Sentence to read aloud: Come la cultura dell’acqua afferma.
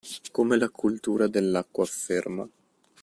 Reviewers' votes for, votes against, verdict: 2, 0, accepted